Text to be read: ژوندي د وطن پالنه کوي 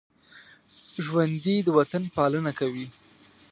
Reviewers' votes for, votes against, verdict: 2, 0, accepted